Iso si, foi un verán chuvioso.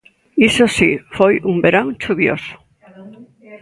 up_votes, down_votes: 1, 2